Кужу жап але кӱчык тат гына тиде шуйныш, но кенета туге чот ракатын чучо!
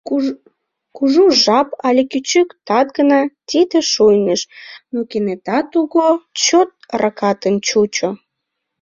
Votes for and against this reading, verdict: 0, 2, rejected